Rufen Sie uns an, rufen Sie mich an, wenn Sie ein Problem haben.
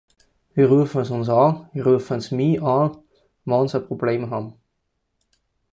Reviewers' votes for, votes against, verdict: 2, 4, rejected